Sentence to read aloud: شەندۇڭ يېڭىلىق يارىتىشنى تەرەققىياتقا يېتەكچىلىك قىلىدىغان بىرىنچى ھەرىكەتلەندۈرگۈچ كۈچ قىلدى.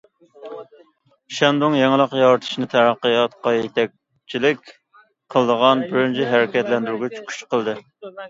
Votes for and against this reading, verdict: 2, 0, accepted